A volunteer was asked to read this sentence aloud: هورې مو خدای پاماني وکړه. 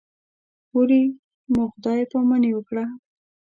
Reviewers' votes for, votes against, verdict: 1, 2, rejected